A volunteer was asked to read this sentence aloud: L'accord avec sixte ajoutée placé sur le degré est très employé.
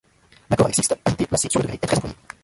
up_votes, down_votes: 0, 2